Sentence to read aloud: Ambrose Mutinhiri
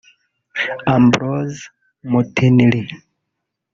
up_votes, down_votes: 1, 2